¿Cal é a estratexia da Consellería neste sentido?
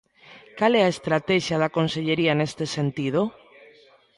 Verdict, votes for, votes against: accepted, 2, 0